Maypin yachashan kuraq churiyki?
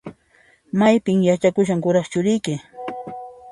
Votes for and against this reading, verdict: 1, 2, rejected